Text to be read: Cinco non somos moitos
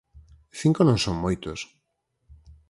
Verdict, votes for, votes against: rejected, 0, 4